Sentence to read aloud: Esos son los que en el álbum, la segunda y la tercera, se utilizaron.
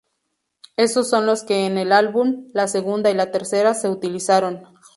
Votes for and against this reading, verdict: 0, 2, rejected